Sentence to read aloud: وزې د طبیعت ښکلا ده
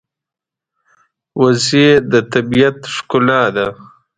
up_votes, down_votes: 2, 0